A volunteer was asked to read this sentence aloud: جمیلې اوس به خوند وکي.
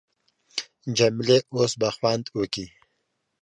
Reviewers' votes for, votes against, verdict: 2, 0, accepted